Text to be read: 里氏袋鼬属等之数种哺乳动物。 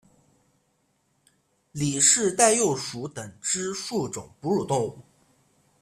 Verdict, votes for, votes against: accepted, 2, 0